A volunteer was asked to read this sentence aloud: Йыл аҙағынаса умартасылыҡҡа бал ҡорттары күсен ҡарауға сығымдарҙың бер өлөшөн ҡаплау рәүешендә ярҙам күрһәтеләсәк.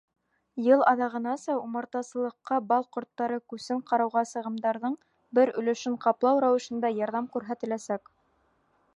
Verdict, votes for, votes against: rejected, 0, 2